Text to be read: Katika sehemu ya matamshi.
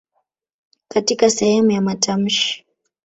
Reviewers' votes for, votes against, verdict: 1, 2, rejected